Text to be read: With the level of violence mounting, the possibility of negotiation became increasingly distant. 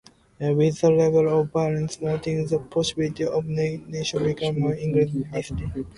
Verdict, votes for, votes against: rejected, 0, 2